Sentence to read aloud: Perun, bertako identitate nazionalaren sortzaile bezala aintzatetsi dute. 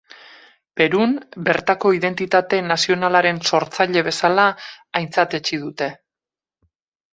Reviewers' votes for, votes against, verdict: 2, 2, rejected